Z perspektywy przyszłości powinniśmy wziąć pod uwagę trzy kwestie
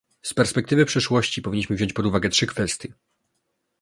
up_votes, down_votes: 2, 0